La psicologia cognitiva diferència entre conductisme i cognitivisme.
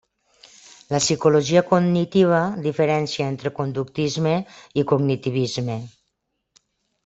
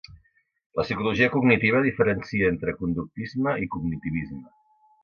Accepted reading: first